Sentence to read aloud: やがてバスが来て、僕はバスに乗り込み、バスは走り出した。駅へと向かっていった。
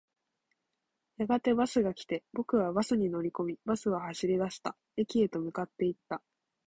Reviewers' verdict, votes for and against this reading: accepted, 2, 0